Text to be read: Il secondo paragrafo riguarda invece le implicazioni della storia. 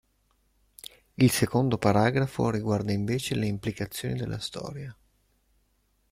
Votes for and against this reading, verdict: 2, 0, accepted